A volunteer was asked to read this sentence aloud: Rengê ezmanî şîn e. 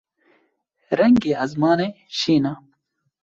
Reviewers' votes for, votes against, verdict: 1, 2, rejected